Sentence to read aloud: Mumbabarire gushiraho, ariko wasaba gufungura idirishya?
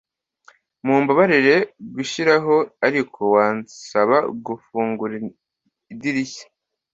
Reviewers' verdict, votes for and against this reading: accepted, 2, 1